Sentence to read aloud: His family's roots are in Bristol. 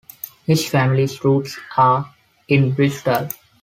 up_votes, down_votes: 2, 0